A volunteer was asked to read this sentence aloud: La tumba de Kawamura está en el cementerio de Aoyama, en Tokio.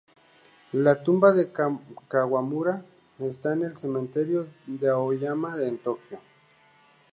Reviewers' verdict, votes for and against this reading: rejected, 0, 2